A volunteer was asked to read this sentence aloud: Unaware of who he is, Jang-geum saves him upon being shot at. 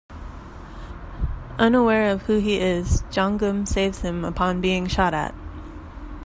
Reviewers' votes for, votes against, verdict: 1, 2, rejected